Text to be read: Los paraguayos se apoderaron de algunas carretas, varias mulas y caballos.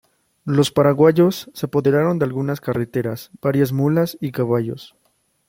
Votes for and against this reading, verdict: 1, 2, rejected